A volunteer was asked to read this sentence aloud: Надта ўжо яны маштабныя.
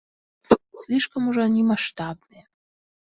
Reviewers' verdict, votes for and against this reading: rejected, 1, 2